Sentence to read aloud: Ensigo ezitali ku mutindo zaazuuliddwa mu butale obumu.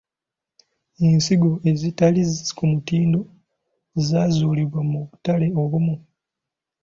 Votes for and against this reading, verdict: 0, 2, rejected